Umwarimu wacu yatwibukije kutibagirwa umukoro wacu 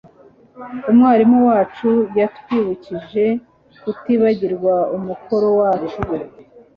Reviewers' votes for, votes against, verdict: 2, 0, accepted